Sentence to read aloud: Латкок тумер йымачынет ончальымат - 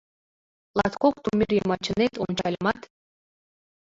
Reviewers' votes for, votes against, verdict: 0, 2, rejected